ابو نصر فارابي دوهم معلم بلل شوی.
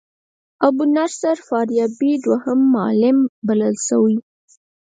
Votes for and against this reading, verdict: 2, 4, rejected